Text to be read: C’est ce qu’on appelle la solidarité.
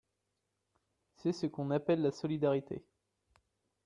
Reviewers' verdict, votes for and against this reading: accepted, 2, 0